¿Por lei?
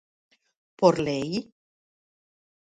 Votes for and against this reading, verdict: 4, 0, accepted